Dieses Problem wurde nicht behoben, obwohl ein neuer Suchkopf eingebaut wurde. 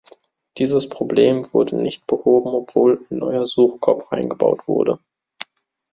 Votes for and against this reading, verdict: 2, 1, accepted